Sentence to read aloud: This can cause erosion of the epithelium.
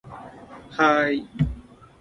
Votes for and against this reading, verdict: 0, 2, rejected